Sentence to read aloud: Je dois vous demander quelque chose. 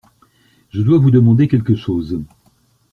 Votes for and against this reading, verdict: 2, 0, accepted